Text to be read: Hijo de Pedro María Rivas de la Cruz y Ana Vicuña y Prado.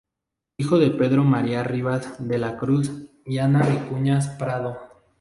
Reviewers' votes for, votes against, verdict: 0, 2, rejected